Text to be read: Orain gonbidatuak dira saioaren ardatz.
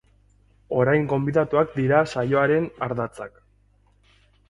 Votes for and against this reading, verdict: 0, 2, rejected